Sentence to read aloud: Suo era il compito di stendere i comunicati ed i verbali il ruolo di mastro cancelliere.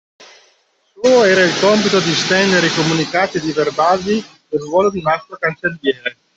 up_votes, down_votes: 1, 2